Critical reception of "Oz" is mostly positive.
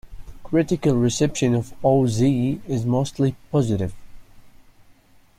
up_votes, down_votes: 1, 2